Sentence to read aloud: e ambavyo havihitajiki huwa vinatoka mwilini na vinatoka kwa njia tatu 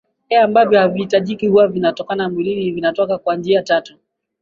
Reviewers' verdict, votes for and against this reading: rejected, 1, 2